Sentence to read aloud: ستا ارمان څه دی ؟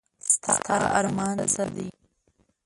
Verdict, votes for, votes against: rejected, 1, 2